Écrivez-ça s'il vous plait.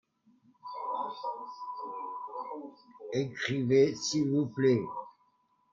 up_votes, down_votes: 0, 2